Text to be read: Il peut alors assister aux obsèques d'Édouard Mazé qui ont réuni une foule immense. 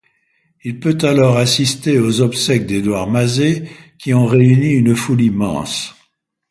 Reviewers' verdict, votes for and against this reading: accepted, 2, 0